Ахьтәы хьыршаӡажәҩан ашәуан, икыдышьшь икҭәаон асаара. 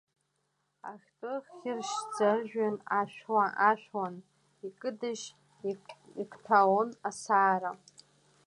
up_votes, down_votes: 0, 2